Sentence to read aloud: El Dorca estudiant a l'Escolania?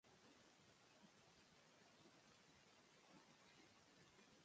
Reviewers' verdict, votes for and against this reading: rejected, 1, 2